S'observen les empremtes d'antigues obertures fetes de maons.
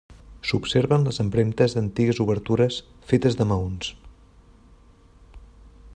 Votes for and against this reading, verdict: 2, 0, accepted